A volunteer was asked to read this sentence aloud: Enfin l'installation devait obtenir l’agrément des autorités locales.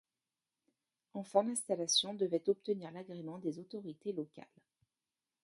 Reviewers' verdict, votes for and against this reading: rejected, 0, 2